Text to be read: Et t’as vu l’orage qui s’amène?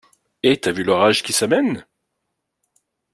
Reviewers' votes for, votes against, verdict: 2, 0, accepted